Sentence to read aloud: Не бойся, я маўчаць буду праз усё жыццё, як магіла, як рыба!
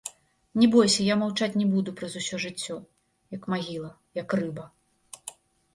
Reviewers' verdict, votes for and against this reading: rejected, 1, 2